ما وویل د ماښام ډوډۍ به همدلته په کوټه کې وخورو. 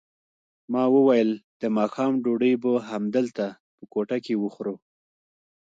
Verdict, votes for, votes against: accepted, 2, 0